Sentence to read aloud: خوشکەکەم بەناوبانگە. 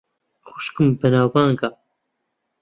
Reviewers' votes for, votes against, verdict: 0, 2, rejected